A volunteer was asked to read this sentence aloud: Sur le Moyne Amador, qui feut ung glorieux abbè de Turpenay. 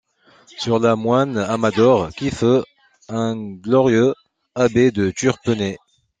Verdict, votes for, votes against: rejected, 0, 2